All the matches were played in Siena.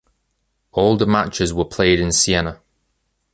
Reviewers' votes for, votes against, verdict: 2, 0, accepted